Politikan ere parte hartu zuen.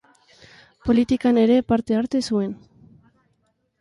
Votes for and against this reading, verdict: 0, 2, rejected